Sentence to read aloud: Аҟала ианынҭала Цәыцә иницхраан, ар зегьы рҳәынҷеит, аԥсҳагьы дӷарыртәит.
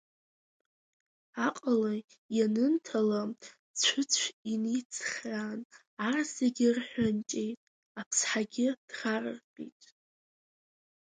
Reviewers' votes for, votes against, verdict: 2, 1, accepted